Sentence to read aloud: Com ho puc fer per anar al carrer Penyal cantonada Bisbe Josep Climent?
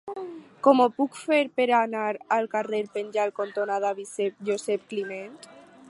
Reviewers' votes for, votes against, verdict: 0, 4, rejected